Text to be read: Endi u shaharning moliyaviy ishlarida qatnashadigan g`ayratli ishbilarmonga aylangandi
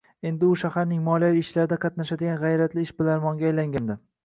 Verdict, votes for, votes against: accepted, 2, 0